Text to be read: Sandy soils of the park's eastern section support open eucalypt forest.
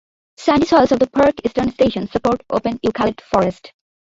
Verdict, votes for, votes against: rejected, 0, 2